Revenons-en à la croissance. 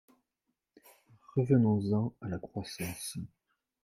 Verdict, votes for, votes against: rejected, 1, 2